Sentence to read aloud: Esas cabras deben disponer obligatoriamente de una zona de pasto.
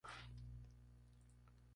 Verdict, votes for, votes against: rejected, 2, 2